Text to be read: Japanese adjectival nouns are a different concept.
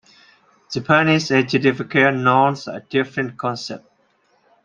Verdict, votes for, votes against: rejected, 1, 2